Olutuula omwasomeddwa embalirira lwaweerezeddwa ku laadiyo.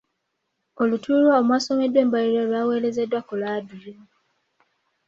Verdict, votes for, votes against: accepted, 2, 0